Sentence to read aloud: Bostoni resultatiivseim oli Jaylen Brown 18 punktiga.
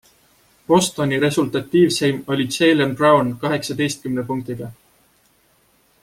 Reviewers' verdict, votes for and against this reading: rejected, 0, 2